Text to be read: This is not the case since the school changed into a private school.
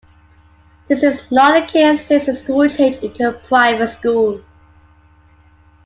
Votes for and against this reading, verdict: 2, 0, accepted